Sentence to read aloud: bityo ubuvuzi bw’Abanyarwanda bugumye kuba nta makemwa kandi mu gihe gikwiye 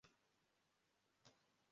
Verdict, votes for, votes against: rejected, 0, 2